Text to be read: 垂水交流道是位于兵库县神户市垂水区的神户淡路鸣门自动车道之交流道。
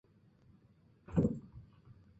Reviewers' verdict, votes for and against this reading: rejected, 3, 4